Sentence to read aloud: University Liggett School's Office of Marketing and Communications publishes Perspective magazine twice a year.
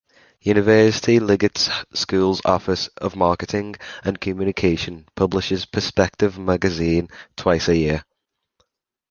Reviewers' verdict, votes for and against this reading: accepted, 2, 1